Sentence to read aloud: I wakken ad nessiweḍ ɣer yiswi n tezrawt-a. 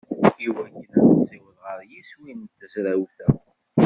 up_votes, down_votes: 1, 2